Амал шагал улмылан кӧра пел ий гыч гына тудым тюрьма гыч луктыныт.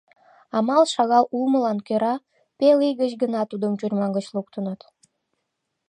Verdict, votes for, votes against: accepted, 2, 0